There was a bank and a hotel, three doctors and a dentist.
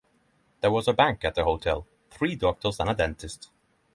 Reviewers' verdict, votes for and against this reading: accepted, 6, 0